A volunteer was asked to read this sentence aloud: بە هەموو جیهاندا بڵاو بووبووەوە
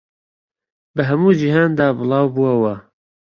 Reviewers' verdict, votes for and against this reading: rejected, 1, 2